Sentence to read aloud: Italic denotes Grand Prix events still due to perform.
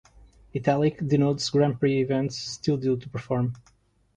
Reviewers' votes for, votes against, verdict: 2, 0, accepted